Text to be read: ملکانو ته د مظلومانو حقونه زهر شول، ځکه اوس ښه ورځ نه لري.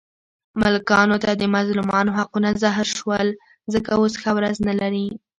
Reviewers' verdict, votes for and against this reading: accepted, 2, 0